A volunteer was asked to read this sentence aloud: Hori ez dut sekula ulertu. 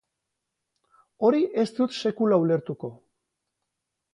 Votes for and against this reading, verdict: 0, 4, rejected